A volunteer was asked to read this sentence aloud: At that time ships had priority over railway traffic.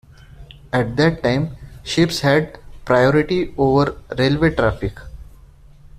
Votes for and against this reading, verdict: 2, 0, accepted